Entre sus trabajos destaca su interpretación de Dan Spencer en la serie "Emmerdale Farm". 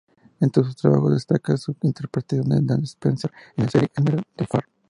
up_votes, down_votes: 0, 4